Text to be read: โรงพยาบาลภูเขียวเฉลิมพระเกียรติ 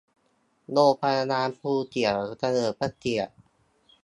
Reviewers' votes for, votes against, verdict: 2, 0, accepted